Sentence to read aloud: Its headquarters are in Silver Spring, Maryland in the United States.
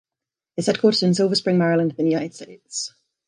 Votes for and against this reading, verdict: 0, 2, rejected